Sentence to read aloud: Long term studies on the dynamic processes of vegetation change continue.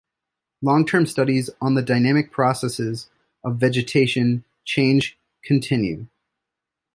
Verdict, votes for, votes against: accepted, 2, 0